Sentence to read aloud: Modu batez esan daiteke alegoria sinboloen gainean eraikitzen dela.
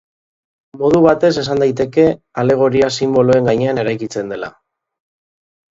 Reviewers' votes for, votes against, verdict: 2, 0, accepted